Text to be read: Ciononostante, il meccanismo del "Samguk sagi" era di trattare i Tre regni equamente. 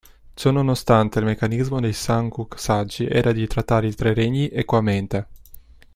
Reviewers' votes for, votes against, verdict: 2, 0, accepted